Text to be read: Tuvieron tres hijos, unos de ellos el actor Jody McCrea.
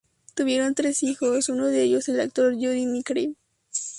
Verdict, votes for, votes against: accepted, 2, 0